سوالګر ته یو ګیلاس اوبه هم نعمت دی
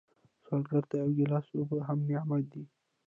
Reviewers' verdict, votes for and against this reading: rejected, 0, 2